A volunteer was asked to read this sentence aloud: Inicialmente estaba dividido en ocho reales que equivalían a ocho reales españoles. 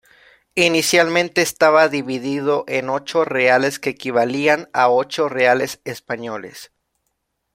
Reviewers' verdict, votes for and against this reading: accepted, 2, 0